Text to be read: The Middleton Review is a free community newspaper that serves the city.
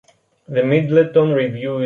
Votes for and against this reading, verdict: 0, 2, rejected